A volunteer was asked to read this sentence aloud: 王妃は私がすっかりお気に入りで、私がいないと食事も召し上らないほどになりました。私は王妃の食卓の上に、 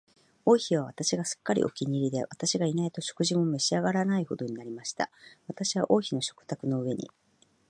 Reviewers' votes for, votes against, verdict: 2, 0, accepted